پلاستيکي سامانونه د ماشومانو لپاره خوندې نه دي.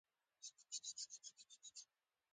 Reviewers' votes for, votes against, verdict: 0, 2, rejected